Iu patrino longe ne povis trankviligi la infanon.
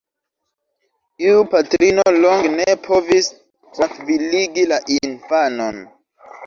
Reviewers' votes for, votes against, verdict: 0, 2, rejected